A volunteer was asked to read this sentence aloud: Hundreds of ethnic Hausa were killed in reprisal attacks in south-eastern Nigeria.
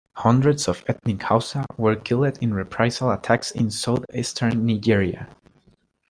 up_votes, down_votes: 2, 1